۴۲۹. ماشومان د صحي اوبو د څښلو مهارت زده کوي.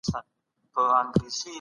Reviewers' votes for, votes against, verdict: 0, 2, rejected